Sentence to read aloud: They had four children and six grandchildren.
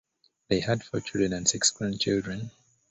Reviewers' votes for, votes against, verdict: 2, 0, accepted